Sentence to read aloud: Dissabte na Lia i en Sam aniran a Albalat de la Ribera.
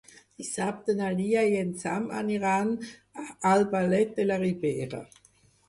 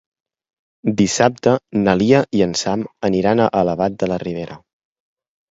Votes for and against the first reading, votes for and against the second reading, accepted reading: 2, 4, 3, 2, second